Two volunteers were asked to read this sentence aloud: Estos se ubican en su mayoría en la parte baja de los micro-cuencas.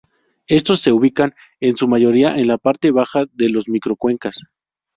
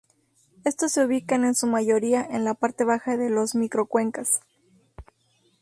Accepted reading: second